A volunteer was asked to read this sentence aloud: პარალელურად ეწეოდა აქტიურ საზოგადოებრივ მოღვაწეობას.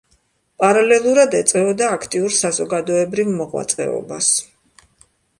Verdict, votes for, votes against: accepted, 3, 0